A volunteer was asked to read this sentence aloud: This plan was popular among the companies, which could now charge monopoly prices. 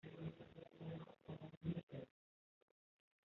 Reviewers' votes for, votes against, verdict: 0, 2, rejected